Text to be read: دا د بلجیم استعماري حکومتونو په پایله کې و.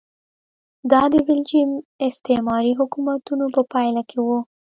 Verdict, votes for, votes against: accepted, 2, 1